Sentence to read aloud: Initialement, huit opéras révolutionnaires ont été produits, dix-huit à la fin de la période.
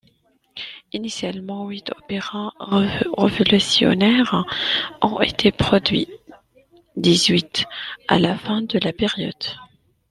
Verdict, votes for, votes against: rejected, 0, 2